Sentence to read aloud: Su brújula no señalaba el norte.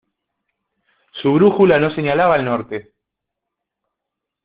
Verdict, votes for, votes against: accepted, 2, 0